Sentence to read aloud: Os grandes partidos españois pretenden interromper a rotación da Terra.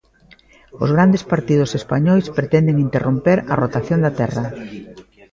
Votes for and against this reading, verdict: 2, 1, accepted